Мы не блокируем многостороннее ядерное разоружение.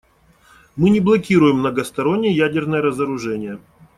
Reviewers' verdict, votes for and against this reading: accepted, 2, 0